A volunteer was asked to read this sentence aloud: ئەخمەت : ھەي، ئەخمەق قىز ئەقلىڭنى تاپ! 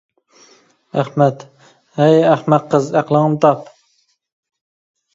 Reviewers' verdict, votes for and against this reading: accepted, 2, 0